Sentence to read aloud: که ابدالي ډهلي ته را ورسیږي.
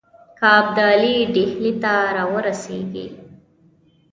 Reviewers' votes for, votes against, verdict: 2, 0, accepted